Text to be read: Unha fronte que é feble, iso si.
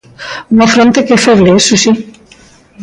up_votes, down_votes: 2, 0